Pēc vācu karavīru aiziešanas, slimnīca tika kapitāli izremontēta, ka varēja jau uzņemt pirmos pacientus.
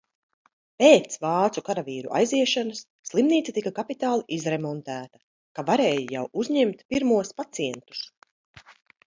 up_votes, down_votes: 2, 0